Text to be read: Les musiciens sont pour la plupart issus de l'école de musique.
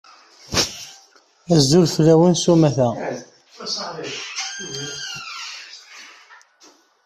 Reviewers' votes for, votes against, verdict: 0, 2, rejected